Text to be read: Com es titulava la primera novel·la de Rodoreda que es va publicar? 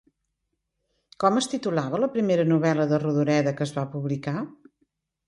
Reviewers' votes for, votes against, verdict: 2, 0, accepted